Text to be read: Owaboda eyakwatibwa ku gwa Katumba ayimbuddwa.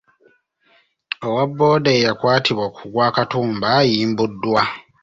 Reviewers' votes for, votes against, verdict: 0, 2, rejected